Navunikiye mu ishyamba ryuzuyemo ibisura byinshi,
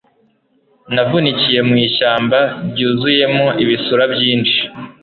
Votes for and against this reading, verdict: 2, 0, accepted